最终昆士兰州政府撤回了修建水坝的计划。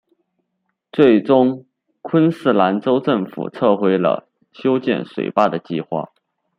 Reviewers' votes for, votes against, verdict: 2, 0, accepted